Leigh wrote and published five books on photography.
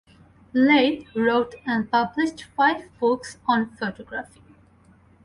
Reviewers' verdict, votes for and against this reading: rejected, 2, 6